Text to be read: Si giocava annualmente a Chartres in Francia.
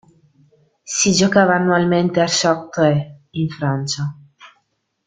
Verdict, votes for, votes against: accepted, 2, 0